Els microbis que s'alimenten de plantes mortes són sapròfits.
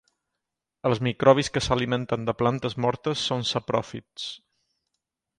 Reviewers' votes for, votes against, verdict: 4, 0, accepted